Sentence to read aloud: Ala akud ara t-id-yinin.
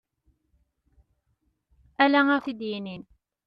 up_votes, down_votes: 1, 2